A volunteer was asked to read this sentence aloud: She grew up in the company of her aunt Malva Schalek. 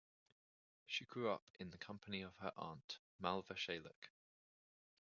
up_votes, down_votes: 0, 2